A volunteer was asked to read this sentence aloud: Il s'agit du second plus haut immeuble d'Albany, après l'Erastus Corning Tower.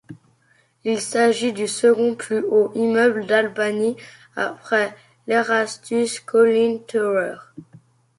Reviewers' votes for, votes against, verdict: 0, 2, rejected